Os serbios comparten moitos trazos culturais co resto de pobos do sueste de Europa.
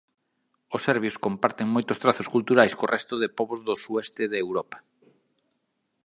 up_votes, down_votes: 2, 0